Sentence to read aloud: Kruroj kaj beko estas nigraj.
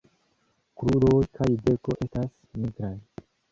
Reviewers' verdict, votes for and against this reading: accepted, 2, 0